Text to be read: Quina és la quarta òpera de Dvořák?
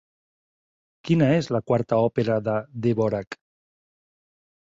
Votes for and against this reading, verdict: 3, 0, accepted